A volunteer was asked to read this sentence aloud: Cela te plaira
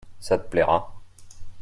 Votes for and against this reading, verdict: 0, 2, rejected